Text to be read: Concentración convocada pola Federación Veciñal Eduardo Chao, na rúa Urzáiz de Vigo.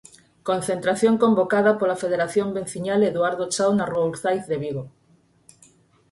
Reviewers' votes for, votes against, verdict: 4, 2, accepted